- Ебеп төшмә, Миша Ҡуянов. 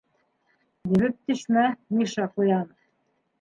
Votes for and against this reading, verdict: 2, 1, accepted